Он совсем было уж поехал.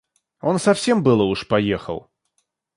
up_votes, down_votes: 2, 0